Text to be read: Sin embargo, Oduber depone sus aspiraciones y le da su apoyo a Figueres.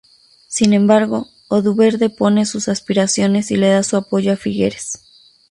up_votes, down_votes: 0, 2